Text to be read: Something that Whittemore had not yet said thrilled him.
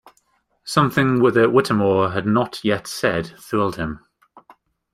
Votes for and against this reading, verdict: 1, 2, rejected